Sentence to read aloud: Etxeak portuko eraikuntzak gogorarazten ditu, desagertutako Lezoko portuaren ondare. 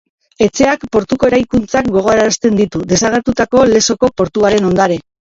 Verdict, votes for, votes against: rejected, 0, 3